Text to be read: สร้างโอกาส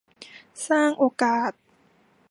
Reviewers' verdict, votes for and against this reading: accepted, 2, 1